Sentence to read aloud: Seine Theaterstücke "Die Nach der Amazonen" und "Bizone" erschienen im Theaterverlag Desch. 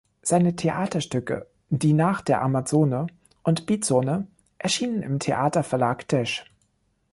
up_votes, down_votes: 1, 2